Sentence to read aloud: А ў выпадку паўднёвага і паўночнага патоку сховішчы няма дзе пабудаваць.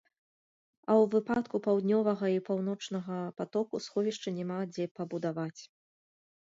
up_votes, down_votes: 0, 2